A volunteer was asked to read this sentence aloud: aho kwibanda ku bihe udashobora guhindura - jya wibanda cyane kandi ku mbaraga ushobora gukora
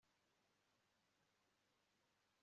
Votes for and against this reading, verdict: 0, 2, rejected